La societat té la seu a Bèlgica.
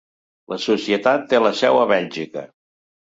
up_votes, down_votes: 2, 0